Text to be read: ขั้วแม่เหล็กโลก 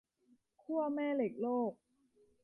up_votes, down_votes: 2, 0